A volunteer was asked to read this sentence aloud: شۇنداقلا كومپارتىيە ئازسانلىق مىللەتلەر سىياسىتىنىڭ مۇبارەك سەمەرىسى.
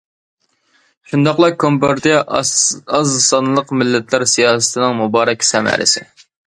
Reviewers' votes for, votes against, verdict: 1, 2, rejected